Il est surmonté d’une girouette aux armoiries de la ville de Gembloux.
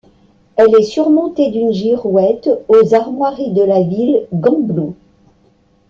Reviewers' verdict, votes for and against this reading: rejected, 1, 2